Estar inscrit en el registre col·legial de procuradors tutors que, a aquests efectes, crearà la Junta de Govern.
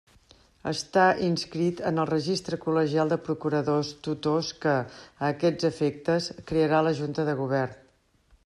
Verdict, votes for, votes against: accepted, 2, 0